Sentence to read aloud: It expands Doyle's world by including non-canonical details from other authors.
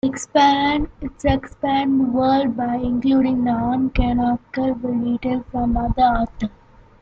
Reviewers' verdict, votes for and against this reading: rejected, 0, 2